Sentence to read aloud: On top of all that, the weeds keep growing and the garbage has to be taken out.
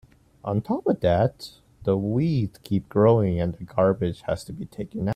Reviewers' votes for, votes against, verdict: 0, 2, rejected